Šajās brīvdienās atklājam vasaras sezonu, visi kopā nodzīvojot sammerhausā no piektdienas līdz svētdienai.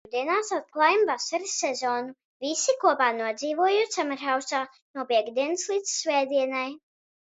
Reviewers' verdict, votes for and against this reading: rejected, 0, 2